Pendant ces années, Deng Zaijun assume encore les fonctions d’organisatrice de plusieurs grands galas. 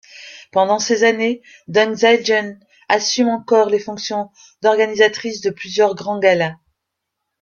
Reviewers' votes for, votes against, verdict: 2, 1, accepted